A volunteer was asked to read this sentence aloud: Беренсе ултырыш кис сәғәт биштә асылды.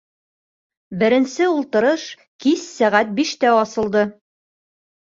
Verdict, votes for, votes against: accepted, 2, 0